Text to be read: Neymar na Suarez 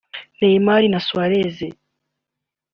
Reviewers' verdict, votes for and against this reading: accepted, 2, 0